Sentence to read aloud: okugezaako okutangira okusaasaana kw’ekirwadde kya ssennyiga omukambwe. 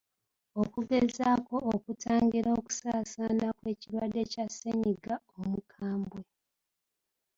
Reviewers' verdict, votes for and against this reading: accepted, 2, 0